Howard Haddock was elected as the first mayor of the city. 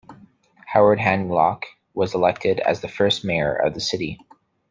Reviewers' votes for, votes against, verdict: 1, 2, rejected